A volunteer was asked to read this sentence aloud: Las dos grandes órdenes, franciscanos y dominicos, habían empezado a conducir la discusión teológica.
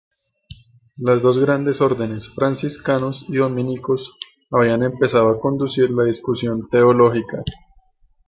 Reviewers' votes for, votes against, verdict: 2, 0, accepted